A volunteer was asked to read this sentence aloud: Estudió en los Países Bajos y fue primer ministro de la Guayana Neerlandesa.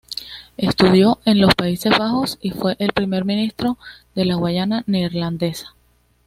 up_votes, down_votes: 2, 0